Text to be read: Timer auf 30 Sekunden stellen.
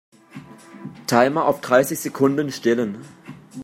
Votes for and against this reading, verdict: 0, 2, rejected